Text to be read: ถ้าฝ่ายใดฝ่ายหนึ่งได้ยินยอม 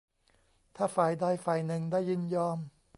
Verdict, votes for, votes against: accepted, 2, 0